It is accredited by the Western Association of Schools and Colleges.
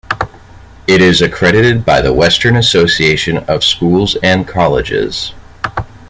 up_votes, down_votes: 2, 0